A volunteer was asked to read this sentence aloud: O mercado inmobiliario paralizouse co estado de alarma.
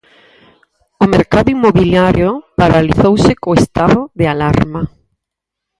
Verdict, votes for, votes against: accepted, 4, 0